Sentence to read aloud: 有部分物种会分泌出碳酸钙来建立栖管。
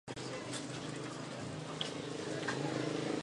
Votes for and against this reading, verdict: 0, 3, rejected